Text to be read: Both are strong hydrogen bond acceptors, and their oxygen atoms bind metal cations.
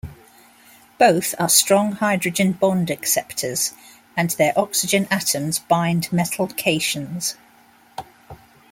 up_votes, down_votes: 2, 0